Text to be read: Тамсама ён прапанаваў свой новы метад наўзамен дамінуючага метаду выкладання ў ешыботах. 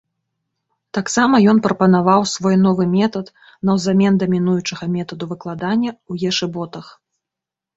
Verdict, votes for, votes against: accepted, 2, 0